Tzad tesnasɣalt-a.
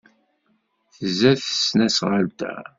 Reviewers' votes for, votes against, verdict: 2, 0, accepted